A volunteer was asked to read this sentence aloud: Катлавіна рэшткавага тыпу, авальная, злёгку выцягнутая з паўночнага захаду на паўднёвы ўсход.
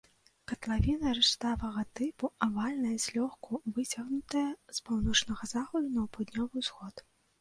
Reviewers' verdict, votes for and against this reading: rejected, 0, 2